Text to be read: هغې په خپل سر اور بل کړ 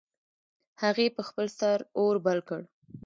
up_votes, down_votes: 2, 1